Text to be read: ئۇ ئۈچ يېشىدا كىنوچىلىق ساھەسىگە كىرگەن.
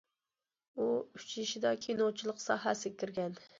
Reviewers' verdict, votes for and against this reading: accepted, 2, 0